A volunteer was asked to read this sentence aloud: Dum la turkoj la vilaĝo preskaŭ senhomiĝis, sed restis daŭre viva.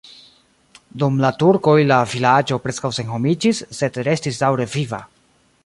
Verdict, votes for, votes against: accepted, 2, 0